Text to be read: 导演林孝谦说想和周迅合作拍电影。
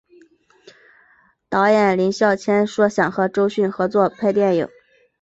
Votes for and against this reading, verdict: 0, 2, rejected